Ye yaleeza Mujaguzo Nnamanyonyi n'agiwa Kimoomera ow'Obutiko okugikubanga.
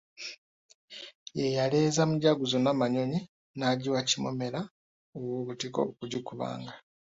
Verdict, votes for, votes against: accepted, 2, 0